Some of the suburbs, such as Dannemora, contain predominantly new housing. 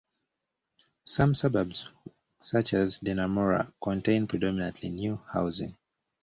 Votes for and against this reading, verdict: 1, 2, rejected